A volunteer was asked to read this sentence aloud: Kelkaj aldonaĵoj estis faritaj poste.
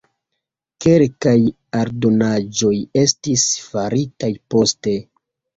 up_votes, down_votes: 2, 1